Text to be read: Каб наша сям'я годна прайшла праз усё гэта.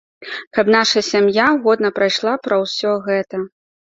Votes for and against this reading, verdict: 1, 2, rejected